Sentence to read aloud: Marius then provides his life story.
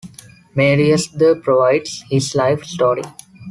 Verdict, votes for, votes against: rejected, 1, 2